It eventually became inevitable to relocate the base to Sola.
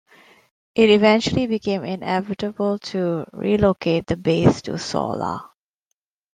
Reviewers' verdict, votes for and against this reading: accepted, 2, 0